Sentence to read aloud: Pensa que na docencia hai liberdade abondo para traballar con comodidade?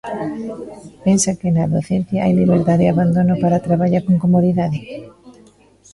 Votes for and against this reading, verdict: 0, 2, rejected